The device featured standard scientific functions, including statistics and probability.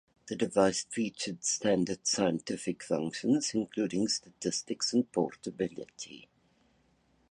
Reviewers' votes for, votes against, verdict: 0, 2, rejected